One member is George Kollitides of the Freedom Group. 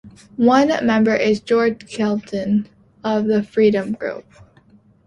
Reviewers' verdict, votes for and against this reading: rejected, 0, 3